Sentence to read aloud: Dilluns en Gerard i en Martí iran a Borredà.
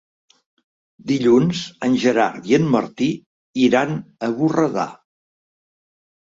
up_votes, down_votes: 3, 0